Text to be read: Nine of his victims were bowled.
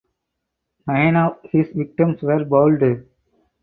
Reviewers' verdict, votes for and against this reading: rejected, 0, 4